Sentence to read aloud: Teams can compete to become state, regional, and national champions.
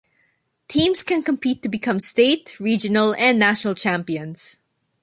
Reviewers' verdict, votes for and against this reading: accepted, 2, 0